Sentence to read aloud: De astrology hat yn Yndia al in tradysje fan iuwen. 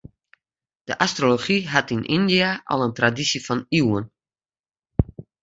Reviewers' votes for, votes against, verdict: 3, 0, accepted